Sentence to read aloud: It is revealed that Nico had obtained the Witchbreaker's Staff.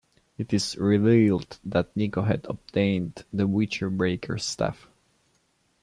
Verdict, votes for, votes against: rejected, 0, 2